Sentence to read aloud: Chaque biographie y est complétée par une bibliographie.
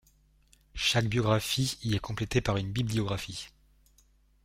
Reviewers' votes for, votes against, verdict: 2, 0, accepted